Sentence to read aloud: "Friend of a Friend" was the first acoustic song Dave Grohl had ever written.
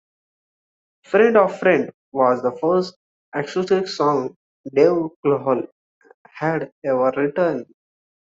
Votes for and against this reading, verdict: 2, 0, accepted